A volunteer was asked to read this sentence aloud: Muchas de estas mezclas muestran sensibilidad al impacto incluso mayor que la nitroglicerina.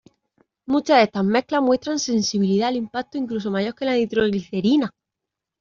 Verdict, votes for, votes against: accepted, 2, 0